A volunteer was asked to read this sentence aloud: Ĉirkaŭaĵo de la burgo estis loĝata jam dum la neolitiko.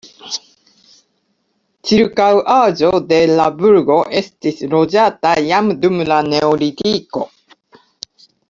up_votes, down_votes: 2, 0